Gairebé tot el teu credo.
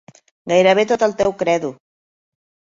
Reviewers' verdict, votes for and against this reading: accepted, 2, 0